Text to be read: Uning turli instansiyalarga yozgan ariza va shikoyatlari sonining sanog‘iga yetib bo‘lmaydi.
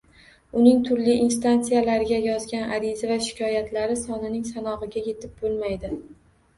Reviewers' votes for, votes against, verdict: 2, 0, accepted